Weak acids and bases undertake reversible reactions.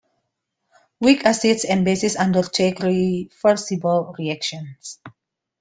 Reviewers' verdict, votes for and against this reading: accepted, 2, 1